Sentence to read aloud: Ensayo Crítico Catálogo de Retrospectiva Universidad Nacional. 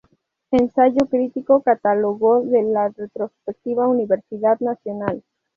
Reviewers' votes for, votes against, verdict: 0, 4, rejected